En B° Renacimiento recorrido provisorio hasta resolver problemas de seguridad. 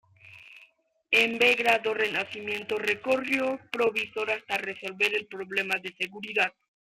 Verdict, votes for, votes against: rejected, 1, 3